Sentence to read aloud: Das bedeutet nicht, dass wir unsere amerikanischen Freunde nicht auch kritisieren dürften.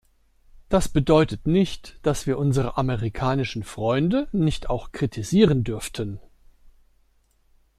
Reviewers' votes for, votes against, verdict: 2, 0, accepted